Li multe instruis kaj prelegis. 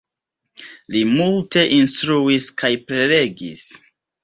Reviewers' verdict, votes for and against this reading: accepted, 2, 0